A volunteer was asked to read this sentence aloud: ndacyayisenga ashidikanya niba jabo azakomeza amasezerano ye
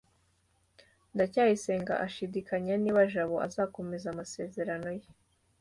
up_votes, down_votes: 2, 0